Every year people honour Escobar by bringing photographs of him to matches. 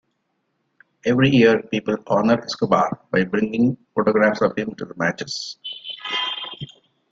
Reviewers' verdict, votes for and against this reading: accepted, 2, 0